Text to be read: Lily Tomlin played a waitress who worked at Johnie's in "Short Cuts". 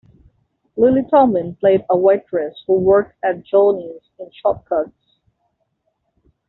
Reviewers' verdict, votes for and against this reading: accepted, 2, 1